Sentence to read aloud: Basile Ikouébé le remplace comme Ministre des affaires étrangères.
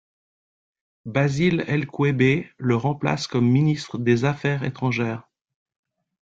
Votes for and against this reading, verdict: 1, 2, rejected